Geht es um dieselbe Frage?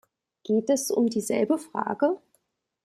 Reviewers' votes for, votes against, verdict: 2, 0, accepted